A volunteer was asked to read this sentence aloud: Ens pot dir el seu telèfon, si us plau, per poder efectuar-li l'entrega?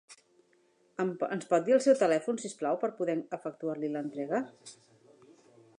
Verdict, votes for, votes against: rejected, 0, 2